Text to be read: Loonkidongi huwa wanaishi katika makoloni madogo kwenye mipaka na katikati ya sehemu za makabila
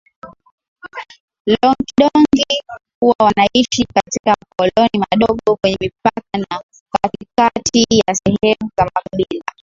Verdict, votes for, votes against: accepted, 7, 5